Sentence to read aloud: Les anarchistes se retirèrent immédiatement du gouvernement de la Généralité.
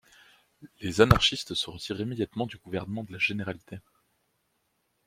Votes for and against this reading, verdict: 0, 2, rejected